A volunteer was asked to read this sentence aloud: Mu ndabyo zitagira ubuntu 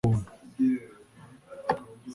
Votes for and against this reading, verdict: 1, 2, rejected